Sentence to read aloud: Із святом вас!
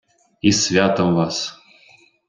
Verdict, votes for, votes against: rejected, 1, 2